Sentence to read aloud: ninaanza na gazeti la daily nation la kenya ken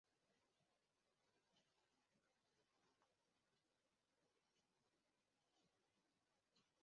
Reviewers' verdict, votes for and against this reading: rejected, 0, 2